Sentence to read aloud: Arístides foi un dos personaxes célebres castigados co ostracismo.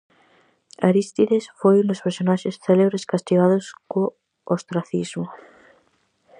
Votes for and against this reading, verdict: 4, 0, accepted